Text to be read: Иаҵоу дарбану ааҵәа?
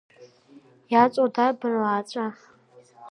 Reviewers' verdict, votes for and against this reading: accepted, 2, 0